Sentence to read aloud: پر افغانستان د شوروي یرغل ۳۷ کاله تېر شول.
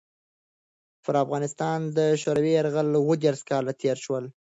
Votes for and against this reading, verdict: 0, 2, rejected